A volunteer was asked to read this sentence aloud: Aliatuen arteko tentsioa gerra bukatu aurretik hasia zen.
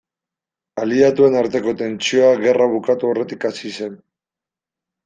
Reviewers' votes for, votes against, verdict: 0, 2, rejected